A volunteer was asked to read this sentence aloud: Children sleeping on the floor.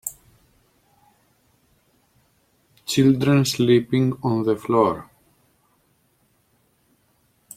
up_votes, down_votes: 4, 0